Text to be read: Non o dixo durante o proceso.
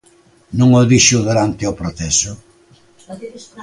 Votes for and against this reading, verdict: 1, 2, rejected